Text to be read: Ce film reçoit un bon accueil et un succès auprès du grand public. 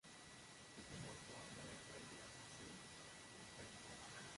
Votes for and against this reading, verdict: 0, 2, rejected